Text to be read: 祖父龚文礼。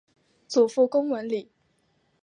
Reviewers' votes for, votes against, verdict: 5, 0, accepted